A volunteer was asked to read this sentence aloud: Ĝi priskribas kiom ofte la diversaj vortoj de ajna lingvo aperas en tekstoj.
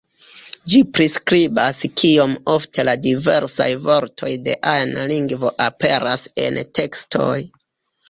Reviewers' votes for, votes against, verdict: 2, 1, accepted